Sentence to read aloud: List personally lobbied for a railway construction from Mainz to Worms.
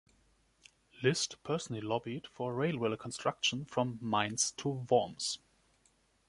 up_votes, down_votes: 2, 0